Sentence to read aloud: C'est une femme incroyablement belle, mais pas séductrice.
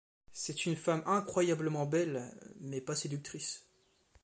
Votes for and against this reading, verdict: 2, 0, accepted